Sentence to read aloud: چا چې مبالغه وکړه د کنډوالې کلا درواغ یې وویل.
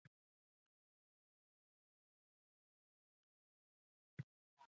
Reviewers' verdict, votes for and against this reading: rejected, 1, 2